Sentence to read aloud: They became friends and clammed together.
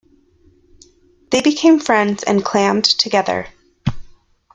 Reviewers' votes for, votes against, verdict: 2, 0, accepted